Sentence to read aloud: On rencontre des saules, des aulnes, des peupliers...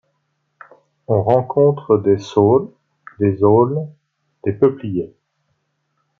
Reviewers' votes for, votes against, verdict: 2, 0, accepted